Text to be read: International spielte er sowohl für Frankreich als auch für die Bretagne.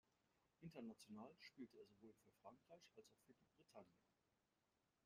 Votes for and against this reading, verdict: 1, 2, rejected